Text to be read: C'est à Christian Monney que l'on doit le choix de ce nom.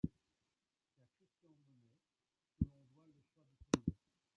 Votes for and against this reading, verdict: 1, 2, rejected